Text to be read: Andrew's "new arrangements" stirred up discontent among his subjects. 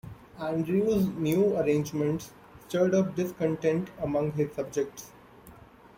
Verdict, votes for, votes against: accepted, 2, 0